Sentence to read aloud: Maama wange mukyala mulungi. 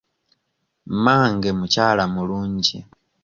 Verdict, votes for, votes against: rejected, 0, 2